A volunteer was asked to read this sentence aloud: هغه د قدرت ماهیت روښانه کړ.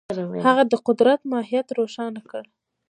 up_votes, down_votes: 2, 1